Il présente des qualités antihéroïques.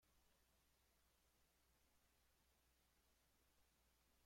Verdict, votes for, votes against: rejected, 0, 2